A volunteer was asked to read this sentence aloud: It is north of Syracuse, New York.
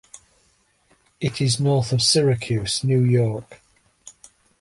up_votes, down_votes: 2, 0